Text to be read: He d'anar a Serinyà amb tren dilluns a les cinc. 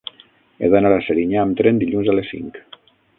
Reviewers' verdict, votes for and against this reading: rejected, 0, 6